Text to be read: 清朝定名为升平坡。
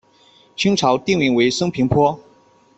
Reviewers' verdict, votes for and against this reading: accepted, 2, 0